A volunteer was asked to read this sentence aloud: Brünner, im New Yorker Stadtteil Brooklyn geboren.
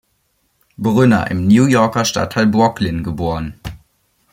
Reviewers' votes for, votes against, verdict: 0, 2, rejected